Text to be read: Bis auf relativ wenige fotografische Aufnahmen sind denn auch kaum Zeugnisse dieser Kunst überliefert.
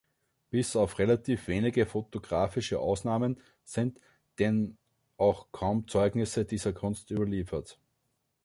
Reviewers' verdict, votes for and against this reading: rejected, 0, 2